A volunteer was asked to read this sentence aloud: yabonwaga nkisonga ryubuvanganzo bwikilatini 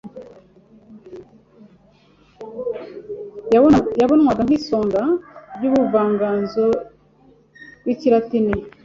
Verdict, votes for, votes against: rejected, 1, 2